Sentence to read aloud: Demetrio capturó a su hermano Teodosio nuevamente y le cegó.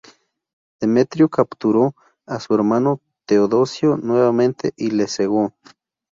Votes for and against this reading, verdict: 2, 0, accepted